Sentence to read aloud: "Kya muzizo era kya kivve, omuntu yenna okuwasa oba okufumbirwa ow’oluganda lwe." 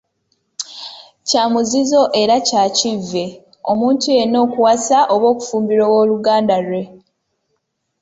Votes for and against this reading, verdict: 2, 0, accepted